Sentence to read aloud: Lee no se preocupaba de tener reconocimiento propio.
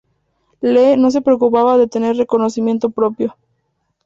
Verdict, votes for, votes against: accepted, 4, 0